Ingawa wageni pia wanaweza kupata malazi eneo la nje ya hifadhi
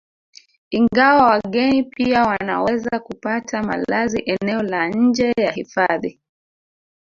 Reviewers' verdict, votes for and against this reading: rejected, 0, 2